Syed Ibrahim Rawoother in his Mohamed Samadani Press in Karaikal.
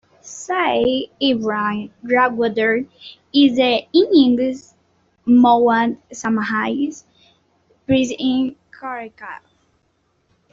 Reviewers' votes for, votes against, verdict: 0, 2, rejected